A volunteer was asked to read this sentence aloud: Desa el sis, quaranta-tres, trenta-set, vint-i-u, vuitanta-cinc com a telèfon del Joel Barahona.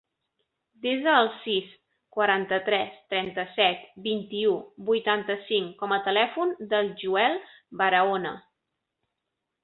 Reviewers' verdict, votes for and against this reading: accepted, 2, 0